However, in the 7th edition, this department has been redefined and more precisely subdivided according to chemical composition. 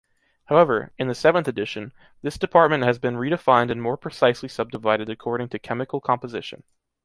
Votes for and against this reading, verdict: 0, 2, rejected